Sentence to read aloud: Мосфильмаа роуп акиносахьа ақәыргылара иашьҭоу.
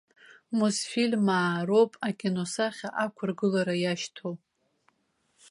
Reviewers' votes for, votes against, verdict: 2, 0, accepted